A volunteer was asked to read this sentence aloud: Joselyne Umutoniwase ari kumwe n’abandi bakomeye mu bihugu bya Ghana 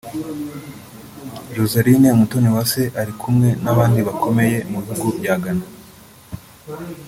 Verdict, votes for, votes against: accepted, 2, 0